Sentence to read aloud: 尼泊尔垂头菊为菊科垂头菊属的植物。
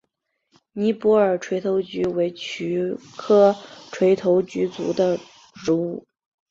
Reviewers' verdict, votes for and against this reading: accepted, 2, 0